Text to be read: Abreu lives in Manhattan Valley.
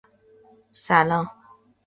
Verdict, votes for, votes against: rejected, 0, 2